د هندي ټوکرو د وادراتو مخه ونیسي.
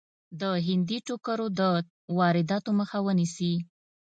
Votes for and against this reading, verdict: 2, 0, accepted